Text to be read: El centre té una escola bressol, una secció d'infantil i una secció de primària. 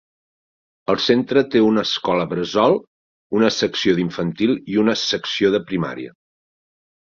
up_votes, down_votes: 0, 2